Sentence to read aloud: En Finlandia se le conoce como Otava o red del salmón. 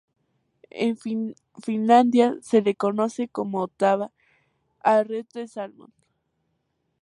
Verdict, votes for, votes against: rejected, 0, 2